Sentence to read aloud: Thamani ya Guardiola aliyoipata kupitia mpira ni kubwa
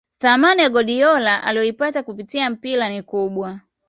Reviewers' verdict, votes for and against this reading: accepted, 2, 0